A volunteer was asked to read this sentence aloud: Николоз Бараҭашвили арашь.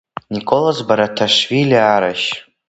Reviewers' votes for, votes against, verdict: 0, 3, rejected